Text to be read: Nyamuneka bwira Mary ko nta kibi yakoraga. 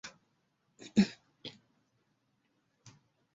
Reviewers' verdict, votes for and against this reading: rejected, 0, 2